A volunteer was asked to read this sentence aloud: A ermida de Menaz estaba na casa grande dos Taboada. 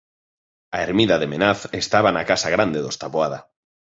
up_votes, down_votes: 5, 0